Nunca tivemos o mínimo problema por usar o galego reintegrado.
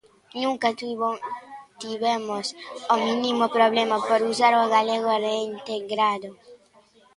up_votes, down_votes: 0, 2